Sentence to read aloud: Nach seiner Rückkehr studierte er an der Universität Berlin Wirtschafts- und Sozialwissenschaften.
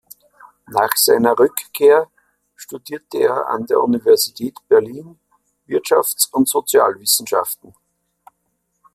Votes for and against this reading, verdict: 2, 0, accepted